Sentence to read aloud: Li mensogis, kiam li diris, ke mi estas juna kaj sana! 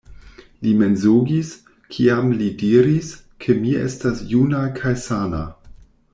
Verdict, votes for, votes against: rejected, 1, 2